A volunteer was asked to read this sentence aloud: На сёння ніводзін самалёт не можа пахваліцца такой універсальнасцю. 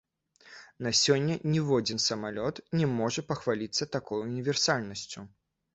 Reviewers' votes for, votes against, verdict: 1, 2, rejected